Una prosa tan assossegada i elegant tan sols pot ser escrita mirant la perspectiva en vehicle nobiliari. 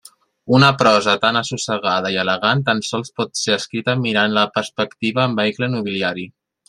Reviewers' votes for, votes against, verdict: 0, 2, rejected